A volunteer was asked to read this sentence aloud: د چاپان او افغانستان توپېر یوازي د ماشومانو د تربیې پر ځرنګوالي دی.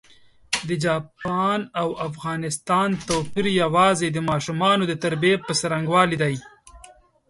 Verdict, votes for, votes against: accepted, 2, 0